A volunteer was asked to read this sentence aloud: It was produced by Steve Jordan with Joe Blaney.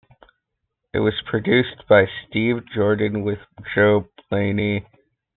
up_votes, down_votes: 2, 0